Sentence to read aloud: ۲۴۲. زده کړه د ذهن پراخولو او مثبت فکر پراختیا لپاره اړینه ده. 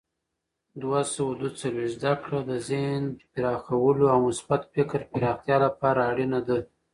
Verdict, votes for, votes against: rejected, 0, 2